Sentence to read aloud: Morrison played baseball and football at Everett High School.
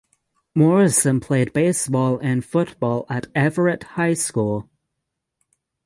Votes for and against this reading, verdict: 6, 0, accepted